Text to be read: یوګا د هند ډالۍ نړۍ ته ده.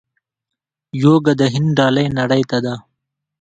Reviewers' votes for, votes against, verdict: 0, 2, rejected